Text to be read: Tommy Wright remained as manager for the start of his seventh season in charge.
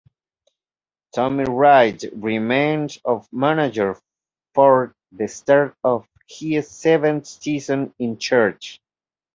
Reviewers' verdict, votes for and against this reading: rejected, 0, 2